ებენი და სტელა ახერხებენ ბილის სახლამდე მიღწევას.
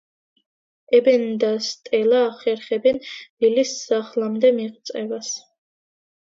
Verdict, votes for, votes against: rejected, 1, 2